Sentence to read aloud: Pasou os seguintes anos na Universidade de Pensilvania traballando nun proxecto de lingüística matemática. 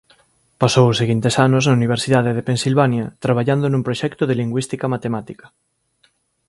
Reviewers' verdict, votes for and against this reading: accepted, 2, 1